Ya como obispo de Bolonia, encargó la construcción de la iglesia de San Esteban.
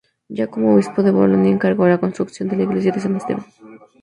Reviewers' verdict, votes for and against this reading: accepted, 2, 0